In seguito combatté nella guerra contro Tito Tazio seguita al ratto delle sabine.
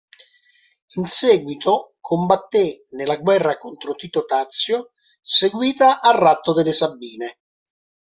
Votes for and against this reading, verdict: 1, 2, rejected